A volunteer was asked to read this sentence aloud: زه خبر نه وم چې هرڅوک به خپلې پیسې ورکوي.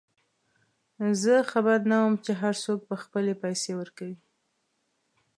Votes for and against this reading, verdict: 2, 0, accepted